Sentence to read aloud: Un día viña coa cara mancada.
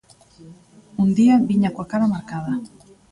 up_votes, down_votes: 1, 2